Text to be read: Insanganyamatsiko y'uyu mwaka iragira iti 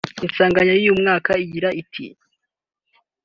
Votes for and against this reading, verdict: 0, 2, rejected